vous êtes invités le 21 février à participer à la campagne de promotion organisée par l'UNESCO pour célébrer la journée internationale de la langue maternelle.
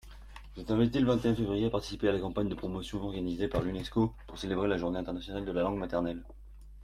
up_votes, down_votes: 0, 2